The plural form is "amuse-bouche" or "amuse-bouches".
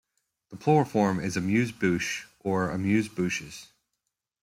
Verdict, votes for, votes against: accepted, 2, 1